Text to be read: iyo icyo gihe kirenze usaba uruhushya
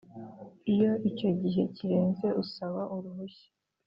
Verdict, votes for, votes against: accepted, 2, 0